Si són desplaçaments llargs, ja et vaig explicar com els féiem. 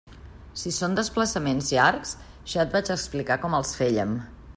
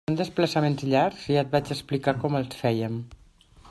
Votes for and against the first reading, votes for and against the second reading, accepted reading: 2, 0, 1, 2, first